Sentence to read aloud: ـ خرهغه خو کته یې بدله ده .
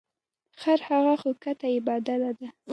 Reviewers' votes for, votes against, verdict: 1, 2, rejected